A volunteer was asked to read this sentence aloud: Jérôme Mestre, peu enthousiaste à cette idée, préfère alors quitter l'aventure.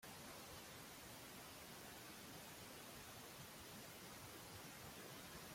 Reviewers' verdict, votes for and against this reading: rejected, 1, 2